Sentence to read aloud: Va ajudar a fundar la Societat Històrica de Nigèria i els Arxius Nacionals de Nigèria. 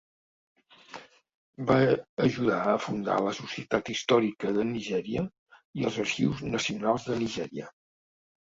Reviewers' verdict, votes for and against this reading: accepted, 2, 0